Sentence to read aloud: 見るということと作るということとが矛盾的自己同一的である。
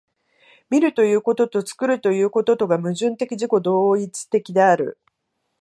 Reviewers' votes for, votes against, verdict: 2, 0, accepted